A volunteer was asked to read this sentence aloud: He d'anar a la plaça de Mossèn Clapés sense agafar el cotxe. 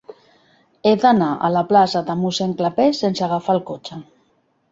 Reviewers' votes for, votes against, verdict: 2, 0, accepted